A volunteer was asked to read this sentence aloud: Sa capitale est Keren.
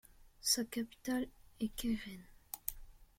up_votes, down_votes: 2, 0